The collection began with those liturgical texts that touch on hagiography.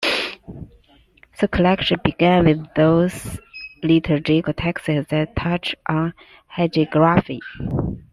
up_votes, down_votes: 2, 1